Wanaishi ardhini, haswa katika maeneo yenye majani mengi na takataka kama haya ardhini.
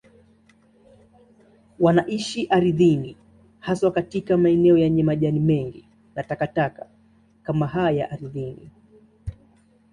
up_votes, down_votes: 2, 0